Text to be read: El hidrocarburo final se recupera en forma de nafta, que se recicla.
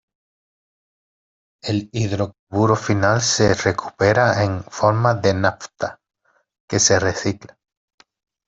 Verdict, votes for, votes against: accepted, 2, 0